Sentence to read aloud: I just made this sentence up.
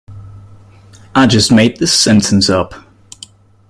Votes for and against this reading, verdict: 2, 0, accepted